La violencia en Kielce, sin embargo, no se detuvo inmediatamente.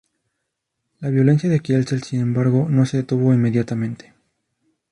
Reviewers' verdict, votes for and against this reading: rejected, 0, 2